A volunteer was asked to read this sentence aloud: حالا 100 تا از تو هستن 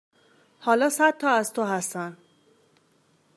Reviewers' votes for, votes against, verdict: 0, 2, rejected